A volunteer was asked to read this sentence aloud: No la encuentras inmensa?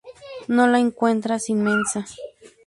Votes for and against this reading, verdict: 0, 2, rejected